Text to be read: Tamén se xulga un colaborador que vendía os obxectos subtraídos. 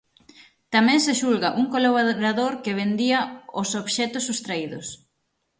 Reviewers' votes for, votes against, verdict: 3, 6, rejected